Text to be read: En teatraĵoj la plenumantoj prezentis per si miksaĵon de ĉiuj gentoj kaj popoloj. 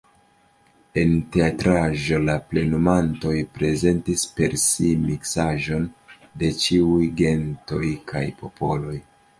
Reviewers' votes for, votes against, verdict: 1, 2, rejected